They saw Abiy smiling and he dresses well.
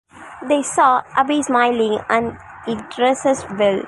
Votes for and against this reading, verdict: 2, 0, accepted